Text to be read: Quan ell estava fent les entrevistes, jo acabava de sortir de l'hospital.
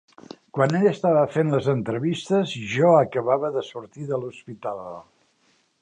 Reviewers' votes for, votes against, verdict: 2, 0, accepted